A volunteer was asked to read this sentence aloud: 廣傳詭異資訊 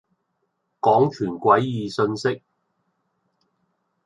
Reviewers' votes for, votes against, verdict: 1, 2, rejected